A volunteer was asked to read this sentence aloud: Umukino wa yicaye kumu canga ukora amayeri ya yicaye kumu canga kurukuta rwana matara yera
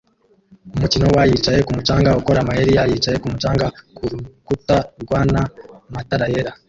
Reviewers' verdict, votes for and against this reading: rejected, 0, 2